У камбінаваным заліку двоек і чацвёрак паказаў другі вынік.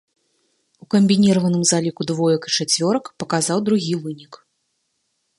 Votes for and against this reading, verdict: 1, 2, rejected